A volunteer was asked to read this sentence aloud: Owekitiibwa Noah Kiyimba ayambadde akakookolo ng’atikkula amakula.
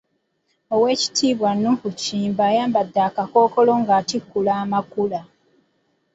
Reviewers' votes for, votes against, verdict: 1, 3, rejected